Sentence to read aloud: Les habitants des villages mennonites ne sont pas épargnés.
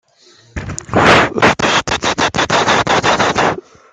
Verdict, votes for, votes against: rejected, 0, 2